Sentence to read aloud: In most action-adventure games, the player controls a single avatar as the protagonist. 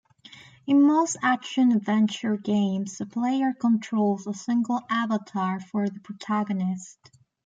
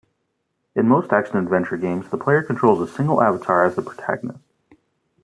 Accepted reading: second